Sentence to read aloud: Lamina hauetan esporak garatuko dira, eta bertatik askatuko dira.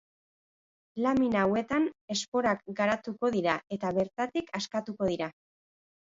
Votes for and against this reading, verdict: 2, 0, accepted